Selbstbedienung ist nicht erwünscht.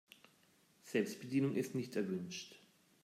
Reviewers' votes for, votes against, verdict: 2, 0, accepted